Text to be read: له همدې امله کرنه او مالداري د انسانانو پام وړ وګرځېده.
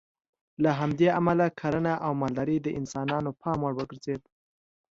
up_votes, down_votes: 2, 0